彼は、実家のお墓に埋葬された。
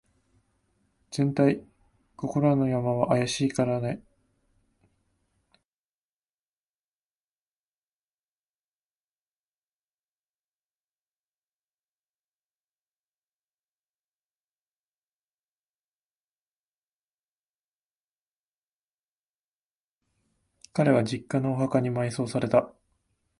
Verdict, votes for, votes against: rejected, 0, 2